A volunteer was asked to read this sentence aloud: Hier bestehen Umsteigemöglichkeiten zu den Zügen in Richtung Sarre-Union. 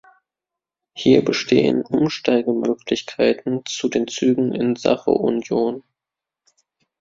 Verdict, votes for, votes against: rejected, 0, 2